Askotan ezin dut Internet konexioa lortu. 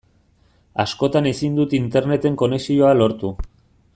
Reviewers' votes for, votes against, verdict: 0, 2, rejected